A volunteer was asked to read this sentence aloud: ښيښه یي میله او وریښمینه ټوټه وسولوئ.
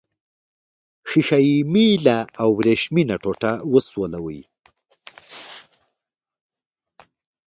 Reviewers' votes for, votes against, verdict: 1, 2, rejected